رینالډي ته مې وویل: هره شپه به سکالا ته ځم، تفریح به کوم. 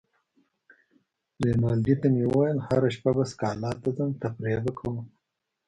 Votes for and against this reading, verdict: 1, 2, rejected